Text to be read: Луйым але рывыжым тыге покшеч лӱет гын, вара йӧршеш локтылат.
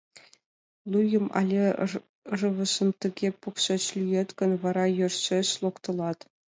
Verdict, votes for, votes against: rejected, 1, 2